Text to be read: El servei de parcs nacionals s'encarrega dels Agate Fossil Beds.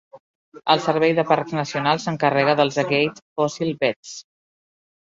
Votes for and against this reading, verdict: 0, 2, rejected